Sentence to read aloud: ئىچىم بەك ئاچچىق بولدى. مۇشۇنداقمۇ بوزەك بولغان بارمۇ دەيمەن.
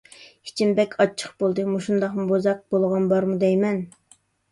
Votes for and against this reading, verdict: 2, 0, accepted